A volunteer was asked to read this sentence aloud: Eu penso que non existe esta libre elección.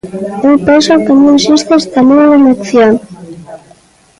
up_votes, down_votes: 1, 2